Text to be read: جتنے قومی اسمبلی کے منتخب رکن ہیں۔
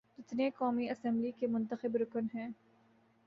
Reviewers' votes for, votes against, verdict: 2, 0, accepted